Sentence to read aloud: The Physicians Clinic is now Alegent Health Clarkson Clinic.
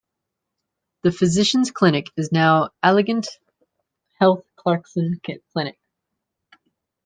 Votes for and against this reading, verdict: 0, 2, rejected